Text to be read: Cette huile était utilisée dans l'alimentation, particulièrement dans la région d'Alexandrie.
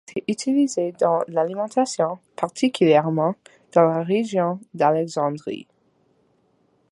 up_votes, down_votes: 0, 2